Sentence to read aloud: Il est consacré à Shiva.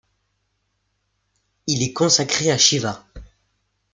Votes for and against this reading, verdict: 2, 0, accepted